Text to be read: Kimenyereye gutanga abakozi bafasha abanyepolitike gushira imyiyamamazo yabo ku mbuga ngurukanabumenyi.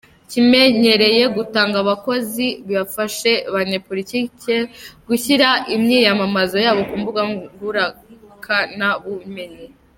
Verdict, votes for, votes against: rejected, 1, 3